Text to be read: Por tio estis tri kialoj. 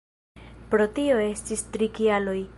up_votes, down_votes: 1, 2